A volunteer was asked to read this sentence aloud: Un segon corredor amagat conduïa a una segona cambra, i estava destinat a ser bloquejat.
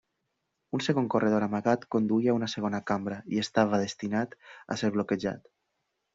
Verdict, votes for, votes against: accepted, 2, 0